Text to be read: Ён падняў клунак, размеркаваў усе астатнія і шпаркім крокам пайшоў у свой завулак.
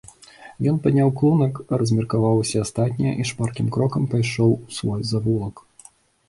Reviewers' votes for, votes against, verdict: 3, 0, accepted